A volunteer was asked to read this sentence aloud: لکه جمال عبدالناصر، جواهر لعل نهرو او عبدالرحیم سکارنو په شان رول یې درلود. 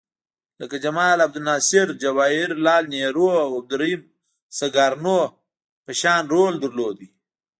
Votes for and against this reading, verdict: 2, 0, accepted